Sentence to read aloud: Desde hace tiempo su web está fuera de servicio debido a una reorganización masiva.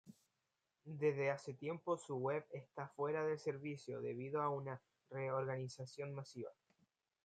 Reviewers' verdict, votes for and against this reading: rejected, 1, 2